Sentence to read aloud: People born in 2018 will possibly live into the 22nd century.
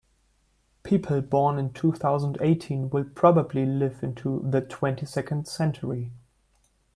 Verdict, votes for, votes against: rejected, 0, 2